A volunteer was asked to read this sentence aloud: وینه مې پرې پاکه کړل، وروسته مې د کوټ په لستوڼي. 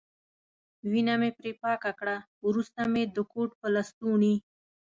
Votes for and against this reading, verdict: 2, 0, accepted